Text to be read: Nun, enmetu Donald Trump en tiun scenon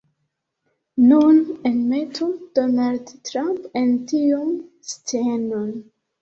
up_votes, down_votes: 1, 2